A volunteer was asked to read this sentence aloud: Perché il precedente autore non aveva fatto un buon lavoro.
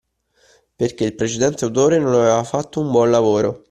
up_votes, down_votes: 2, 0